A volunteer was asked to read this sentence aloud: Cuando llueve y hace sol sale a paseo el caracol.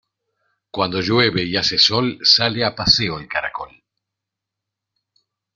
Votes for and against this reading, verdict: 2, 0, accepted